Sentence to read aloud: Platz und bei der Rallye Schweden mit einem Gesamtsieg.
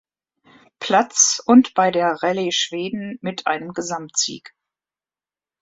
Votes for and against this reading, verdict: 2, 0, accepted